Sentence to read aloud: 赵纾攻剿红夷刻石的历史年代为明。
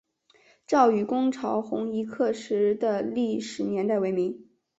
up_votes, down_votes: 2, 1